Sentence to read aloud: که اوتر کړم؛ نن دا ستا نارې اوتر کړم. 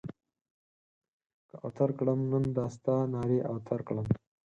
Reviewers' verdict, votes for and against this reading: accepted, 4, 0